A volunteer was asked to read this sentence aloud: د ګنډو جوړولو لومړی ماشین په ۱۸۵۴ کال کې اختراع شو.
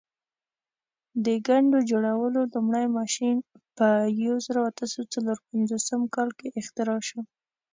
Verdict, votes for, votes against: rejected, 0, 2